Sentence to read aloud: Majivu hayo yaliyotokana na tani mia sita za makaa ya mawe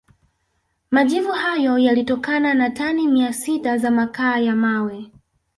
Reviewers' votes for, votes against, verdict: 1, 2, rejected